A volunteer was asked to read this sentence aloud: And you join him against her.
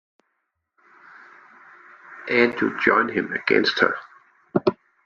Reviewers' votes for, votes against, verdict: 2, 1, accepted